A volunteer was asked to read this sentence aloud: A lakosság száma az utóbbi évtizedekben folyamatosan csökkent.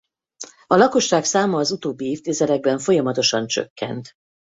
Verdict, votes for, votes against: accepted, 4, 0